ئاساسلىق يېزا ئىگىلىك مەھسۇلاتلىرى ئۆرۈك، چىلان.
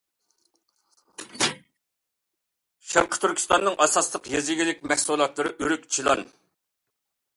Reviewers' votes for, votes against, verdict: 0, 2, rejected